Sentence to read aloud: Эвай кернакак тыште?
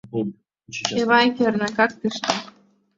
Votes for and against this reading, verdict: 1, 2, rejected